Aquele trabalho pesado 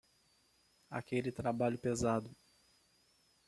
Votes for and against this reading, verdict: 2, 1, accepted